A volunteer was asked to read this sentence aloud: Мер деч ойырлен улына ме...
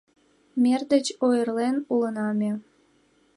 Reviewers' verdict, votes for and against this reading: accepted, 2, 0